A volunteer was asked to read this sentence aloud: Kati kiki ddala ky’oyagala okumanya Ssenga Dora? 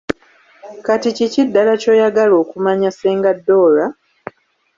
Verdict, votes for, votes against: accepted, 2, 1